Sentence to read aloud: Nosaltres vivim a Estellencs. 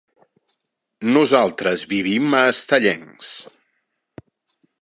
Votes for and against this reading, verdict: 3, 0, accepted